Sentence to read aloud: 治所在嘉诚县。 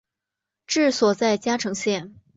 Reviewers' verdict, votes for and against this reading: accepted, 2, 0